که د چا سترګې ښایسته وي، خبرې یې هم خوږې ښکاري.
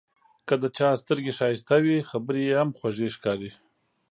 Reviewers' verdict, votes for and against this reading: accepted, 3, 0